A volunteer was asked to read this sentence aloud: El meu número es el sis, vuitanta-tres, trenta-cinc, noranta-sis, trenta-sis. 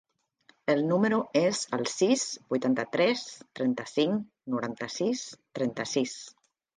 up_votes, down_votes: 0, 2